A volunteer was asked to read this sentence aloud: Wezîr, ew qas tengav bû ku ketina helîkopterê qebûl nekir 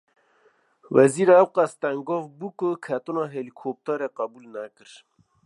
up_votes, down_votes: 2, 0